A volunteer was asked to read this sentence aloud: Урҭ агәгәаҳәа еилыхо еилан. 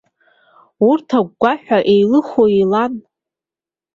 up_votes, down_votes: 2, 0